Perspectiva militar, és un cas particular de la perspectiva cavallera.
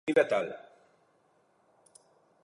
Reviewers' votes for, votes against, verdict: 0, 2, rejected